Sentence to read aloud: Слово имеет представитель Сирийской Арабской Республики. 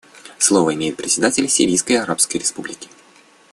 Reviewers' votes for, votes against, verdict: 0, 2, rejected